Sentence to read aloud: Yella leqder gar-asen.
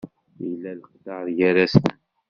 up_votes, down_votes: 1, 2